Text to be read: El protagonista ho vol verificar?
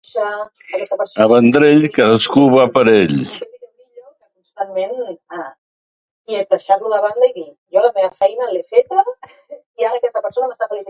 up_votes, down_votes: 0, 2